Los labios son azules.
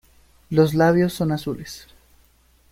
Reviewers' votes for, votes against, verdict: 2, 0, accepted